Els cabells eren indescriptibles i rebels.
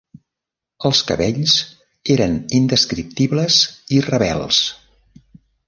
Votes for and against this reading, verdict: 3, 0, accepted